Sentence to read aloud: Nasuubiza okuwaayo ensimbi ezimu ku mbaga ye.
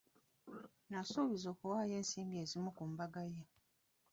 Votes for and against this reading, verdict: 1, 2, rejected